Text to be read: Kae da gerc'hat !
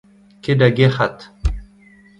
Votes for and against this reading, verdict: 2, 0, accepted